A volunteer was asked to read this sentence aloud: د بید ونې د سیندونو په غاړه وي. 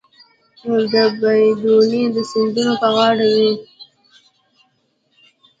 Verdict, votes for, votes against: accepted, 2, 0